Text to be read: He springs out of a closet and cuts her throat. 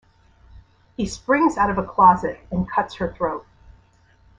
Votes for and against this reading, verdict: 2, 0, accepted